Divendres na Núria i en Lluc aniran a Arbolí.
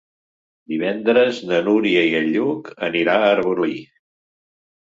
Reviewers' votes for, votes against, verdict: 0, 2, rejected